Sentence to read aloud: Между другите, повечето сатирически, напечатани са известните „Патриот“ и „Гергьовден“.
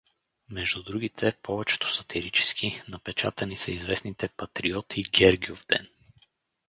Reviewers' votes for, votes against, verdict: 2, 2, rejected